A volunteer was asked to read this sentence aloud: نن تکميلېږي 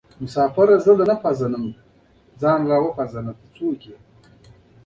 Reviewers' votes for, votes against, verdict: 0, 2, rejected